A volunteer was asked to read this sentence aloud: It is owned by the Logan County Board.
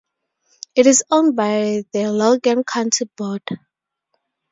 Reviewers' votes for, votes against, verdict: 2, 0, accepted